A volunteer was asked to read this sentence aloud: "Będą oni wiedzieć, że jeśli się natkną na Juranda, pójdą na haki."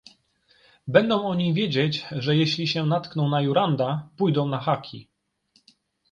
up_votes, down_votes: 3, 0